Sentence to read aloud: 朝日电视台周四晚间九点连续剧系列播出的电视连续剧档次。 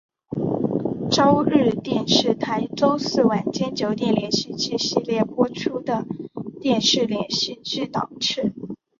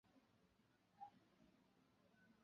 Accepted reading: first